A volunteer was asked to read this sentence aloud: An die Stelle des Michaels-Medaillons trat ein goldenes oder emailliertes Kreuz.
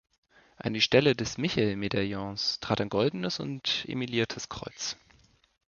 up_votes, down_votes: 0, 2